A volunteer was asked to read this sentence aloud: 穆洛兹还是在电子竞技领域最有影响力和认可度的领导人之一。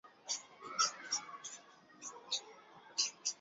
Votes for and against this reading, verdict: 1, 2, rejected